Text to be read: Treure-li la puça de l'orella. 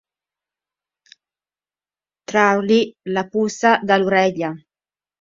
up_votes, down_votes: 0, 2